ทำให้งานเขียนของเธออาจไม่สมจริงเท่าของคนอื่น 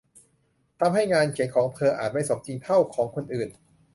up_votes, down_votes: 2, 0